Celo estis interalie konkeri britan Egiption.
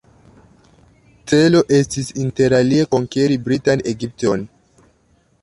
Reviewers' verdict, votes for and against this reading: rejected, 0, 2